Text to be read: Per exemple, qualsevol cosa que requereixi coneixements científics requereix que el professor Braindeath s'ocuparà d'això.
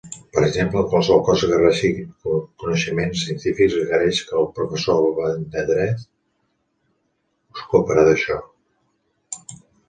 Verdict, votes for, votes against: rejected, 0, 2